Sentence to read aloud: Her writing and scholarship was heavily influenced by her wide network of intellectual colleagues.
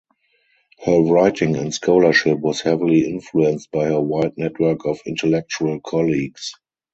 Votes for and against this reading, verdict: 2, 0, accepted